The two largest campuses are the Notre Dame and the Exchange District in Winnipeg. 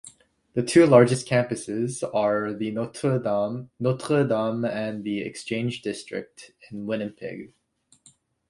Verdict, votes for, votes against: rejected, 0, 2